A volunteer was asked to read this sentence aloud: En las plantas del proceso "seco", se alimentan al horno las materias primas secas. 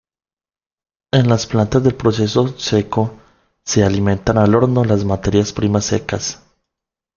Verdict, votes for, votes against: accepted, 2, 0